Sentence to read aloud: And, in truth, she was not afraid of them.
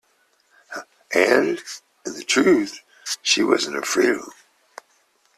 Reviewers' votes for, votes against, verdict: 1, 2, rejected